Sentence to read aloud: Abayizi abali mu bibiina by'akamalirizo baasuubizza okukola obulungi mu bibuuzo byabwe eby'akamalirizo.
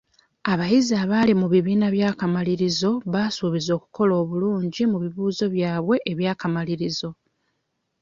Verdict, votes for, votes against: rejected, 0, 2